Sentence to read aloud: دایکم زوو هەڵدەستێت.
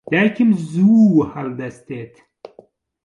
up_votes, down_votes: 1, 2